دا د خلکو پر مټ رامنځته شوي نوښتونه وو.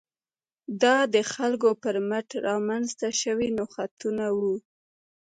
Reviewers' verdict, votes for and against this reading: rejected, 0, 2